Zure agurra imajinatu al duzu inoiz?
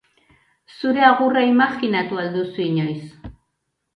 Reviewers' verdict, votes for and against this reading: accepted, 2, 0